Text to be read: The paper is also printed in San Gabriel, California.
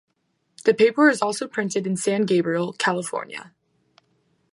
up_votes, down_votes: 2, 0